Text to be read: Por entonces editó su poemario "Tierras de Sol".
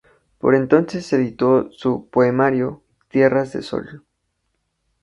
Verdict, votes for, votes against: accepted, 2, 0